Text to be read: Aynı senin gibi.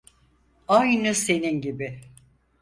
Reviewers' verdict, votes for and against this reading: accepted, 4, 0